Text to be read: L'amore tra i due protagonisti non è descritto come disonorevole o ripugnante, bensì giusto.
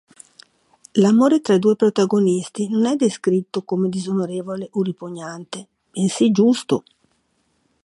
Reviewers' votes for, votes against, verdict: 2, 0, accepted